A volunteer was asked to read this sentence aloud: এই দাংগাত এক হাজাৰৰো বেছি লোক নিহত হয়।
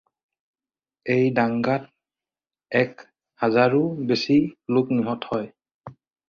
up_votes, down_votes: 2, 4